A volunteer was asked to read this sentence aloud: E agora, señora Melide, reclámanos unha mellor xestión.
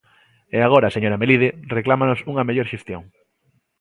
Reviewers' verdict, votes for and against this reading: accepted, 3, 0